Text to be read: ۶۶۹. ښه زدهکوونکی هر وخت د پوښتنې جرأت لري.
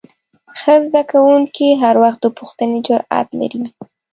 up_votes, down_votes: 0, 2